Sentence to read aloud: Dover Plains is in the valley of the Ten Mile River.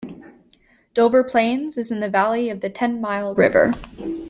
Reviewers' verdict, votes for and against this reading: accepted, 2, 0